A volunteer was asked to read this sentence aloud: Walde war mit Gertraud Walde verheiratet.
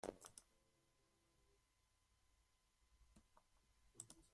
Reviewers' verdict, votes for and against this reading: rejected, 0, 2